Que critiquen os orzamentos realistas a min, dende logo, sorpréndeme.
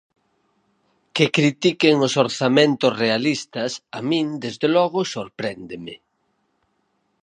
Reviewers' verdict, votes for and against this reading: accepted, 4, 0